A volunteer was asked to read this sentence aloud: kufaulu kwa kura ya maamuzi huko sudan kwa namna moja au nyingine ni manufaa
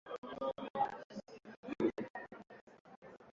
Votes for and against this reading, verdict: 0, 2, rejected